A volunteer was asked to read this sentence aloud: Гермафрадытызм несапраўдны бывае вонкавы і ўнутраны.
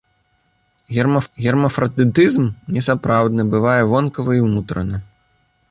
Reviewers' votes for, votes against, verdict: 0, 2, rejected